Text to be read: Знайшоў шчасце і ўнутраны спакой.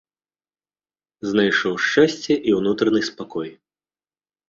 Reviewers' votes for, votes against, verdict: 2, 0, accepted